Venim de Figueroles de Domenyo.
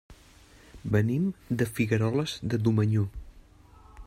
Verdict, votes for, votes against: rejected, 0, 2